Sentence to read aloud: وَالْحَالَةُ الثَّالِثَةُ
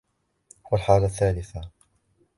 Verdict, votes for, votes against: accepted, 2, 1